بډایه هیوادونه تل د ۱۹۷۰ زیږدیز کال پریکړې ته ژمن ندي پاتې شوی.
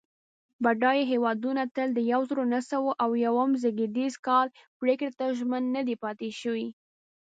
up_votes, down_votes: 0, 2